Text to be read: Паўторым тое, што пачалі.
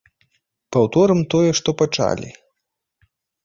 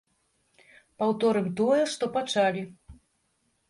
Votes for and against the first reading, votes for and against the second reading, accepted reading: 1, 2, 2, 0, second